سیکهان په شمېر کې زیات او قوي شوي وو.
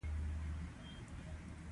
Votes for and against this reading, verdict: 1, 2, rejected